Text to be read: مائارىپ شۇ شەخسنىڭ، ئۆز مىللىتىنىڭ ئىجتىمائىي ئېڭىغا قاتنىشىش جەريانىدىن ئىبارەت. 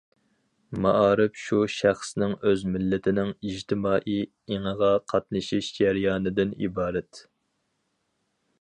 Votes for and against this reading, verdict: 4, 0, accepted